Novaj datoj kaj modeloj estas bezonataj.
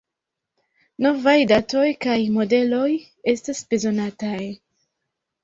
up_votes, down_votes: 2, 1